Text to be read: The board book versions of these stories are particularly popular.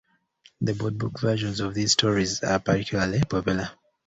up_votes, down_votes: 2, 0